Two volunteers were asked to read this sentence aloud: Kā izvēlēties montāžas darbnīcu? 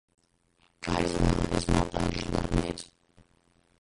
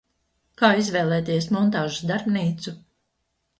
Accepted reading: second